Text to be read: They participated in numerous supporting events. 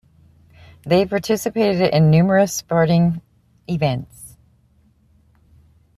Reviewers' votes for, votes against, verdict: 3, 0, accepted